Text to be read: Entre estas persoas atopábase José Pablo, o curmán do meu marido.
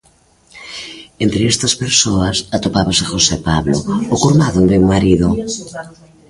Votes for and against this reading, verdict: 1, 2, rejected